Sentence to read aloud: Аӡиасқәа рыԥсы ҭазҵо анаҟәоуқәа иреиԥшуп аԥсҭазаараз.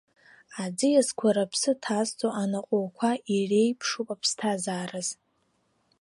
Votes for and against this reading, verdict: 3, 0, accepted